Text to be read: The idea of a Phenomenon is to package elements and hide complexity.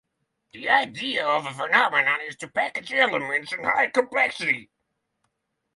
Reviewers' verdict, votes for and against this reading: accepted, 6, 0